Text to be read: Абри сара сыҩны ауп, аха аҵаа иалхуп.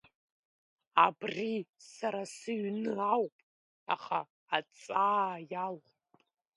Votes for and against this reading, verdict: 2, 0, accepted